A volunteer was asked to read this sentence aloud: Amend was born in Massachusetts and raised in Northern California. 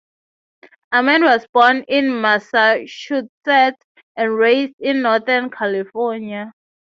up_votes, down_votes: 6, 0